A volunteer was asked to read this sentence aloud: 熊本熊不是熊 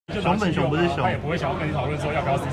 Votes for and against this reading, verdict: 1, 2, rejected